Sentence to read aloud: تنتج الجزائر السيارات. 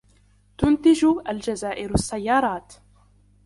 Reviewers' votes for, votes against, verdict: 2, 0, accepted